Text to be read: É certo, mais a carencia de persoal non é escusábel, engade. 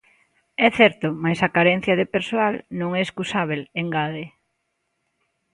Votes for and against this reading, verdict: 2, 0, accepted